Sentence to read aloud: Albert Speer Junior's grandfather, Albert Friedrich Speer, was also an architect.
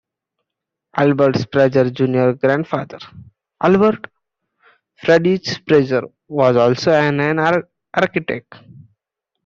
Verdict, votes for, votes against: rejected, 0, 2